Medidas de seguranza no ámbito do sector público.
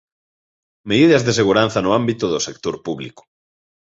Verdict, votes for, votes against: accepted, 2, 0